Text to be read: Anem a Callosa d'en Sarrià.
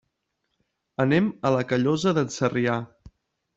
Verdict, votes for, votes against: rejected, 1, 2